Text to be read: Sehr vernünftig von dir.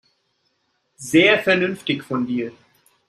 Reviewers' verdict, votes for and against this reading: accepted, 2, 0